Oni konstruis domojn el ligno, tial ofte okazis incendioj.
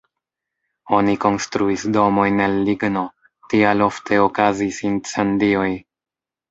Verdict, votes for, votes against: accepted, 2, 0